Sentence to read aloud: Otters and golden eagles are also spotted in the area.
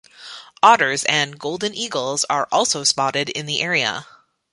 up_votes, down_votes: 2, 0